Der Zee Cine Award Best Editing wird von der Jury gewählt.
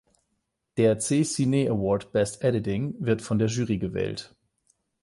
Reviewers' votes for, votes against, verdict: 0, 8, rejected